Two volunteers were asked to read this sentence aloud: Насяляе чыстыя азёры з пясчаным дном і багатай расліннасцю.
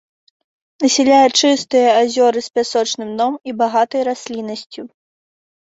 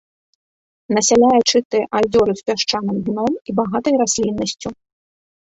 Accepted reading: second